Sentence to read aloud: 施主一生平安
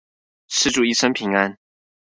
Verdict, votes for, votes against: accepted, 2, 0